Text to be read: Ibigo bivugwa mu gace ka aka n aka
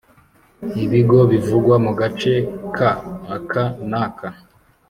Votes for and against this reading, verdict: 2, 0, accepted